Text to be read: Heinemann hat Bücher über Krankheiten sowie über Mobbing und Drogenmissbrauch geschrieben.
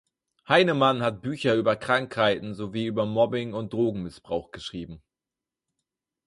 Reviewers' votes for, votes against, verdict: 6, 0, accepted